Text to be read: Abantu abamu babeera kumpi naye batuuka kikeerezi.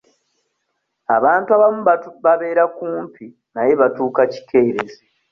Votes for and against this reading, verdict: 0, 2, rejected